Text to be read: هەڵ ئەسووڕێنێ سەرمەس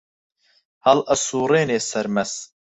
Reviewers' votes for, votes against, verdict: 4, 0, accepted